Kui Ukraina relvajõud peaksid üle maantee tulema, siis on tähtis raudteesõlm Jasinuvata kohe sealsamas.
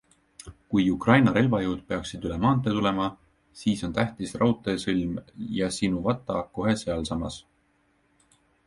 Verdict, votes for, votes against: accepted, 2, 0